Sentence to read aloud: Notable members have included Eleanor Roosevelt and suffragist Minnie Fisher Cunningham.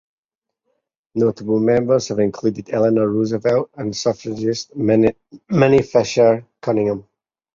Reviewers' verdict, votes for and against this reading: rejected, 0, 2